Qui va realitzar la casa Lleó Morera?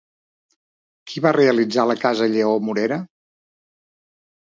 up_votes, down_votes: 2, 0